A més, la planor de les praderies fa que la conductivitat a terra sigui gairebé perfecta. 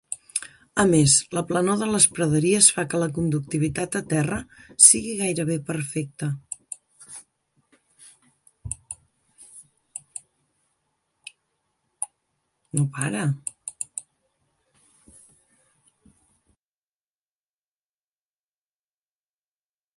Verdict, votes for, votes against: rejected, 0, 2